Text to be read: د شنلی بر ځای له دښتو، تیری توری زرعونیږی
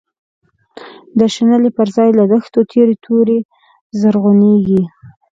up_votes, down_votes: 2, 0